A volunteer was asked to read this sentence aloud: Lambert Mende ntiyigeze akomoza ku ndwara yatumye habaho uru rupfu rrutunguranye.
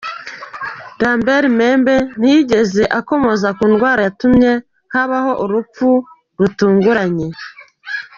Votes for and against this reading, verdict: 1, 2, rejected